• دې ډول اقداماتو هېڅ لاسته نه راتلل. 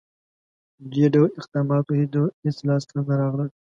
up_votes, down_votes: 0, 2